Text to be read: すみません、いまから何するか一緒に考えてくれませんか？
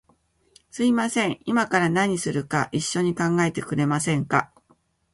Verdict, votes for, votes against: accepted, 2, 0